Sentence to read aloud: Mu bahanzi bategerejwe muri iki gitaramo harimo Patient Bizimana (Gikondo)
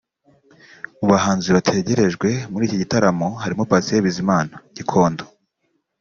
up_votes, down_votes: 2, 0